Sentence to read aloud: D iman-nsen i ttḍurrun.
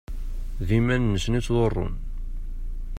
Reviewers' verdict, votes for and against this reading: accepted, 2, 0